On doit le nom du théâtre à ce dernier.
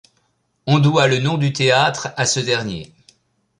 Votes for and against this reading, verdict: 2, 0, accepted